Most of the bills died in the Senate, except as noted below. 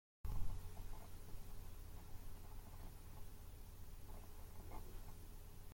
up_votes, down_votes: 0, 2